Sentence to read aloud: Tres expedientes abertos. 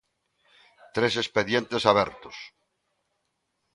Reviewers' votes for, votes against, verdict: 2, 0, accepted